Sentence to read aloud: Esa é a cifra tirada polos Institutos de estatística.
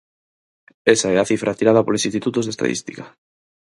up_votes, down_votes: 0, 4